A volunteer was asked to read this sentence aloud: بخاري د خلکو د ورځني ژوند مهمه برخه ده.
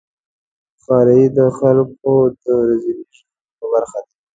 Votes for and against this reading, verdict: 1, 2, rejected